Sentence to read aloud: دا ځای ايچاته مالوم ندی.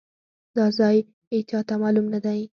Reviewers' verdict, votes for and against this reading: accepted, 4, 0